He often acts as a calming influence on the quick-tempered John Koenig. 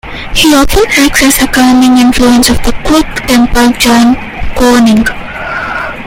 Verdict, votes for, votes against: rejected, 0, 2